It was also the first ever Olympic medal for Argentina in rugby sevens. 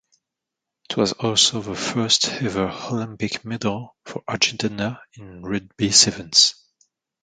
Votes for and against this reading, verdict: 2, 1, accepted